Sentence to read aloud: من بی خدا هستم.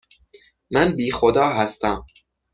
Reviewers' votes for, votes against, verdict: 6, 0, accepted